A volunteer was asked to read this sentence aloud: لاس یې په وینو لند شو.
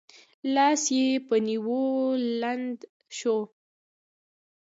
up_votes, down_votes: 0, 2